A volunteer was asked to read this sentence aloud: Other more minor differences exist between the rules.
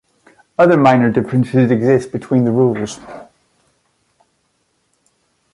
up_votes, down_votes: 2, 3